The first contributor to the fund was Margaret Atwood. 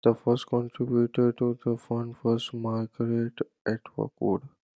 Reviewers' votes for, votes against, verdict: 1, 2, rejected